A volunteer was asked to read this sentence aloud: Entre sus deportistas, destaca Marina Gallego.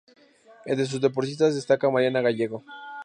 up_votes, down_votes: 2, 2